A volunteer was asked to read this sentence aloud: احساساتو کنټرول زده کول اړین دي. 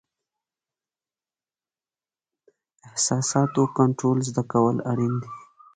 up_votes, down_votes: 2, 0